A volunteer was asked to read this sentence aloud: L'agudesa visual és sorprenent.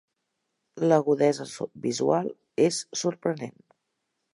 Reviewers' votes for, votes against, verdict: 0, 2, rejected